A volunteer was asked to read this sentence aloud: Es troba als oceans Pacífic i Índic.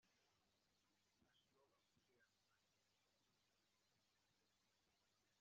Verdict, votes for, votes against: rejected, 1, 2